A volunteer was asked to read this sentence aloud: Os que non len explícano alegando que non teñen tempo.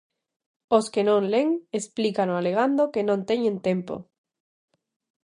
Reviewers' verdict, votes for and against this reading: accepted, 2, 0